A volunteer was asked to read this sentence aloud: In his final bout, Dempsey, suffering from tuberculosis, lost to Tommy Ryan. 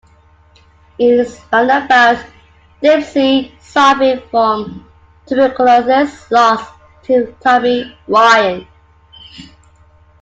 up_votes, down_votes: 2, 1